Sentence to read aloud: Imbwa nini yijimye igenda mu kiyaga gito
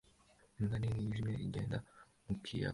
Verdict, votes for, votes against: rejected, 1, 2